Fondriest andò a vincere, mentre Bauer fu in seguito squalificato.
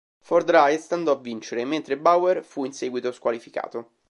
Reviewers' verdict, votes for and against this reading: rejected, 0, 2